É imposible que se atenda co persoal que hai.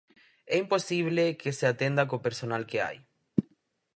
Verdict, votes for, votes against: rejected, 0, 4